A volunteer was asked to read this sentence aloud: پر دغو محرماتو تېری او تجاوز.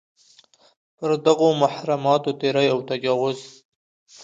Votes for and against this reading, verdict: 2, 0, accepted